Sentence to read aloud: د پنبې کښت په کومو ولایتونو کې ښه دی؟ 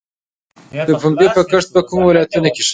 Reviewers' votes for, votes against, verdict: 0, 2, rejected